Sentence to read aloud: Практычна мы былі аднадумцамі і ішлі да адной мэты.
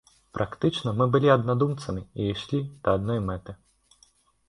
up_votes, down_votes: 2, 0